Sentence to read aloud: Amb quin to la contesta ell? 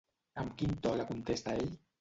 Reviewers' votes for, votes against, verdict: 1, 2, rejected